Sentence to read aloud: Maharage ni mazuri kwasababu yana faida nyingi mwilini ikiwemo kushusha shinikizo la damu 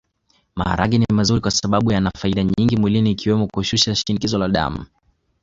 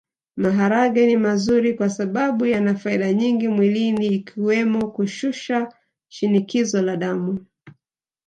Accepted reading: first